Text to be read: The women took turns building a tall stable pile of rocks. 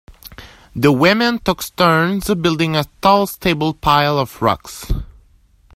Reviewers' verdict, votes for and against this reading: rejected, 0, 2